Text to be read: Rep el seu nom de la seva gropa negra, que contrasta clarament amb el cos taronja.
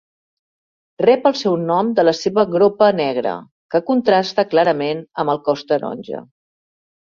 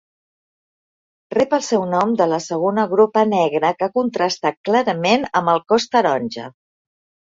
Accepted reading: first